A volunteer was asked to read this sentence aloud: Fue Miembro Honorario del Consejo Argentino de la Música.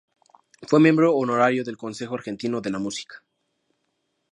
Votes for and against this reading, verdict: 2, 0, accepted